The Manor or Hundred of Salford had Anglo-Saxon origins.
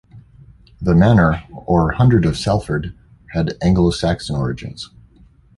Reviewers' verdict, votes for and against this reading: accepted, 2, 0